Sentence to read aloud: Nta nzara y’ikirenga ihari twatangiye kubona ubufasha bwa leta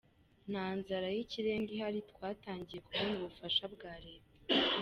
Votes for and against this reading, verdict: 2, 1, accepted